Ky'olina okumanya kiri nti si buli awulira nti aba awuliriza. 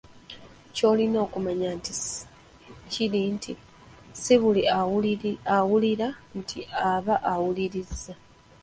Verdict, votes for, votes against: rejected, 1, 2